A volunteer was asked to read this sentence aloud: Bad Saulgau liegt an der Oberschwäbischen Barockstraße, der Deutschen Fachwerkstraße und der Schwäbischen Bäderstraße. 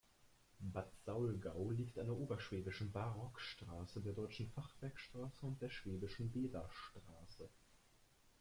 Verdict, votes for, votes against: accepted, 2, 0